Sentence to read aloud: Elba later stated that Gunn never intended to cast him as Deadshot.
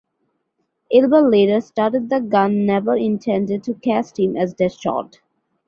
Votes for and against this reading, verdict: 0, 2, rejected